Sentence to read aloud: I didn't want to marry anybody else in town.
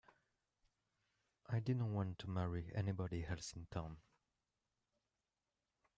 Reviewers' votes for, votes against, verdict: 2, 0, accepted